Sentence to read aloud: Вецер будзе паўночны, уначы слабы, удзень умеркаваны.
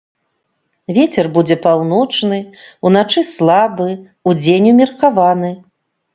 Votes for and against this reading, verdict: 3, 0, accepted